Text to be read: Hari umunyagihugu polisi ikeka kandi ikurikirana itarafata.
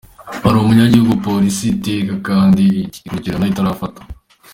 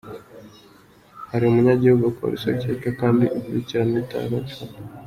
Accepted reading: second